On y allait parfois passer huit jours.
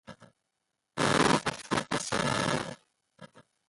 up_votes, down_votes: 0, 2